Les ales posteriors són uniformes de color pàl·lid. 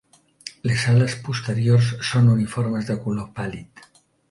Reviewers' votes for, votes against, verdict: 2, 0, accepted